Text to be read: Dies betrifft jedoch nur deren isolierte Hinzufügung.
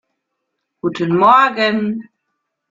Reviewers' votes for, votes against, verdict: 0, 2, rejected